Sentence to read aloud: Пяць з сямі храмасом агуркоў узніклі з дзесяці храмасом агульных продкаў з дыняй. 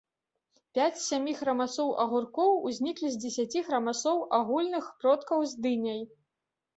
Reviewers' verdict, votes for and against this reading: rejected, 0, 2